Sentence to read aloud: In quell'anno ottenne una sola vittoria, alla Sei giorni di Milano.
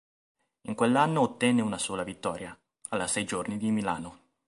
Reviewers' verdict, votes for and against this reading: accepted, 3, 0